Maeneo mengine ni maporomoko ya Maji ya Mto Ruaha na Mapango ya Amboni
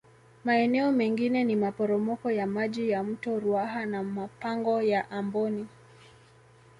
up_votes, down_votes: 0, 2